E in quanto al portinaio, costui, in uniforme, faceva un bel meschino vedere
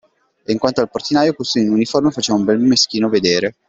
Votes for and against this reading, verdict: 0, 2, rejected